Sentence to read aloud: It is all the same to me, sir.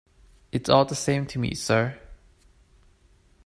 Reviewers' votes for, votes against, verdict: 2, 0, accepted